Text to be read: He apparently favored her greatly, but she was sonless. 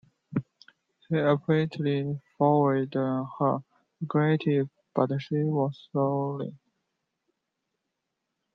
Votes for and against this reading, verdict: 1, 2, rejected